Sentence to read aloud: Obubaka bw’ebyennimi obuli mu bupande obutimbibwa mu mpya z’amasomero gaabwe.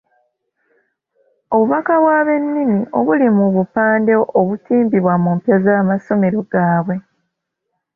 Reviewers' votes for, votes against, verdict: 1, 2, rejected